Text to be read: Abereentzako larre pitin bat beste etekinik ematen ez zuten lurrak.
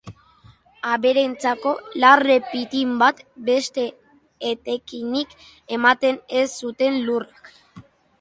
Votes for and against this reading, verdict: 2, 0, accepted